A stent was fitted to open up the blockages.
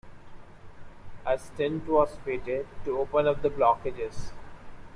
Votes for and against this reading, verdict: 2, 0, accepted